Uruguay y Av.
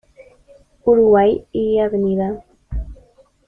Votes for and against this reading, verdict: 2, 0, accepted